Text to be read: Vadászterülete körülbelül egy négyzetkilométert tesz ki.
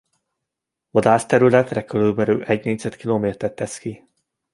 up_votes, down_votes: 0, 2